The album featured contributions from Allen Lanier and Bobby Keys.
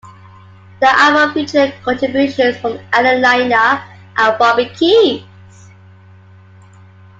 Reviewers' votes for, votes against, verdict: 2, 1, accepted